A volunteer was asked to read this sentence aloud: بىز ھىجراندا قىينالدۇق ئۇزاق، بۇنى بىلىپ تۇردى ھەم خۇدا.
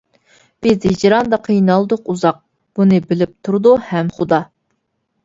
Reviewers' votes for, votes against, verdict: 0, 2, rejected